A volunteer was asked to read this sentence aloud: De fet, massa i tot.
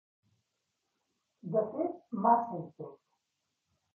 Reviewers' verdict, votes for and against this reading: rejected, 1, 2